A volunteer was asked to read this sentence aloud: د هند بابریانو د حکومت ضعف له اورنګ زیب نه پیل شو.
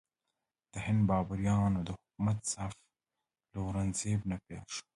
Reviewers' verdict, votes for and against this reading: accepted, 2, 1